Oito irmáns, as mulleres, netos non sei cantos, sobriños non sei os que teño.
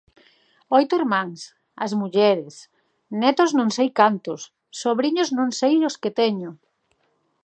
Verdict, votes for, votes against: accepted, 2, 0